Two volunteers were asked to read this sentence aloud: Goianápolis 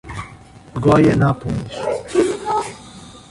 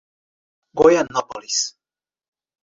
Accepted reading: second